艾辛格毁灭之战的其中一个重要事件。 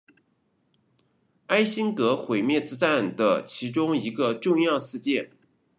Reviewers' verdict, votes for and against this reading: rejected, 1, 2